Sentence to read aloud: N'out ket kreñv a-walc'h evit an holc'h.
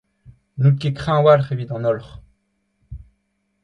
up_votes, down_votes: 2, 0